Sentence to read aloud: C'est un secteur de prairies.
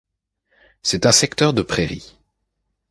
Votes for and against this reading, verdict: 2, 0, accepted